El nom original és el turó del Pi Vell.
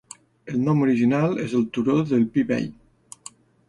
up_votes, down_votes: 2, 0